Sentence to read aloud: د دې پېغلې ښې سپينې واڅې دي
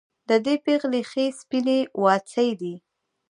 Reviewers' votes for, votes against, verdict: 1, 2, rejected